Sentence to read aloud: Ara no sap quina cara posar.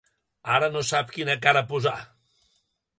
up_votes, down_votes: 3, 0